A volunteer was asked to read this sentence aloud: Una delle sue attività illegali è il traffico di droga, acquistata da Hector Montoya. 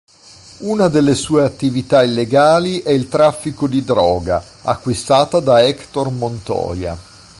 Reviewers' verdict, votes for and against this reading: accepted, 2, 0